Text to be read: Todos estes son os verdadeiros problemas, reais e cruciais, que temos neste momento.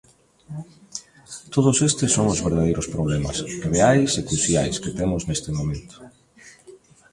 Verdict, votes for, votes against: accepted, 3, 0